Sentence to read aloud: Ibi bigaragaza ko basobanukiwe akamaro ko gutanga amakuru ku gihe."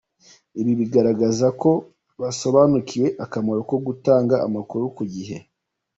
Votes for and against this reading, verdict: 2, 0, accepted